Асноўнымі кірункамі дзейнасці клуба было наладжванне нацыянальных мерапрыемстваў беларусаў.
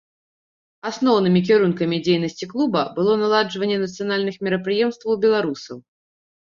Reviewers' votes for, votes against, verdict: 2, 0, accepted